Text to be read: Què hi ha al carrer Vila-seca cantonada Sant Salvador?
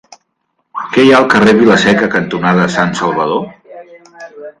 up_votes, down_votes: 0, 2